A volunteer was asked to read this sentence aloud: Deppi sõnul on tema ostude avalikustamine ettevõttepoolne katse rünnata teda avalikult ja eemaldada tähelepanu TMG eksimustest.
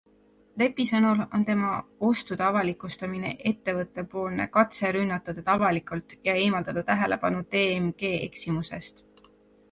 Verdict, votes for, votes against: accepted, 2, 1